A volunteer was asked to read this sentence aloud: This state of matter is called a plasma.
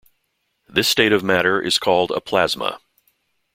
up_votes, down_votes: 2, 0